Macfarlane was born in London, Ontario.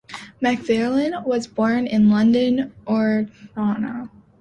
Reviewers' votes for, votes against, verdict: 0, 2, rejected